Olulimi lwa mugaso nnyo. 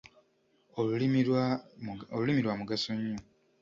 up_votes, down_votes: 1, 2